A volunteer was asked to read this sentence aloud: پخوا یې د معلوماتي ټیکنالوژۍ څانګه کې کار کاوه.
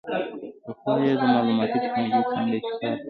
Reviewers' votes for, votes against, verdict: 2, 0, accepted